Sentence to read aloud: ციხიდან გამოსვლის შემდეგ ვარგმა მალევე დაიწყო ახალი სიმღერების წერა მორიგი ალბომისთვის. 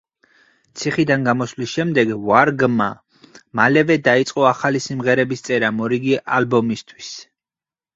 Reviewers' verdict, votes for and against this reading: accepted, 4, 0